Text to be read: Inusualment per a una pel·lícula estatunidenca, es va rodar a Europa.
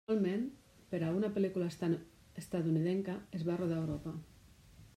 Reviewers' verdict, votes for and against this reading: rejected, 0, 2